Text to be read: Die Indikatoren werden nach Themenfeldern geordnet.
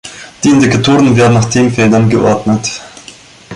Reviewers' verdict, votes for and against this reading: accepted, 2, 0